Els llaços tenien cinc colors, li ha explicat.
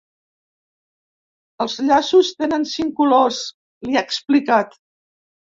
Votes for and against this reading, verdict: 0, 2, rejected